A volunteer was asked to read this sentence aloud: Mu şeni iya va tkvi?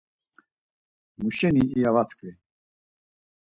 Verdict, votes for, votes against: accepted, 4, 0